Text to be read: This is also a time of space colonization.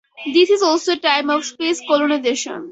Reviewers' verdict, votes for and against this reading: accepted, 2, 0